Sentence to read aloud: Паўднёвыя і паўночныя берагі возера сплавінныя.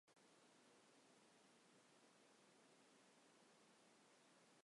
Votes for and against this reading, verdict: 0, 3, rejected